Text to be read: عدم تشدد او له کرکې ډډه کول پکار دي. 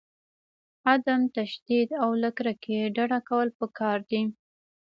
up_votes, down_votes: 2, 0